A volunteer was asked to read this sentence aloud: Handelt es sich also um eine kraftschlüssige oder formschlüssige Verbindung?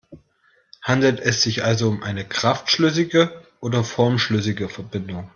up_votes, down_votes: 2, 0